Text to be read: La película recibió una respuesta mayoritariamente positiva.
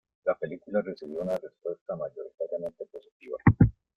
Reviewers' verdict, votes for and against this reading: accepted, 2, 0